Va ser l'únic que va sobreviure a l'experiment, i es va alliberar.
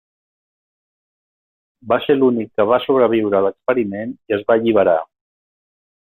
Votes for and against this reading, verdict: 2, 0, accepted